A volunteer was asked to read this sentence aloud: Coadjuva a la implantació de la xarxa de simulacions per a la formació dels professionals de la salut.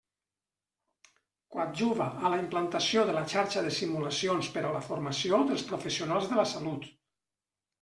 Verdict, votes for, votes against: accepted, 2, 0